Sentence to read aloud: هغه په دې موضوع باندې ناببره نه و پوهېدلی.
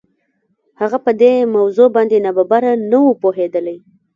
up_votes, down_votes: 0, 2